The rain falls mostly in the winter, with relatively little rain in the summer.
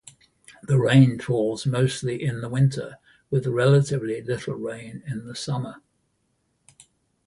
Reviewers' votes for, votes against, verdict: 2, 0, accepted